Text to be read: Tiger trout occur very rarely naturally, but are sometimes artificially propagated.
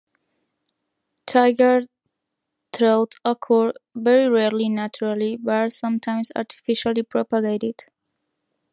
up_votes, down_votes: 2, 1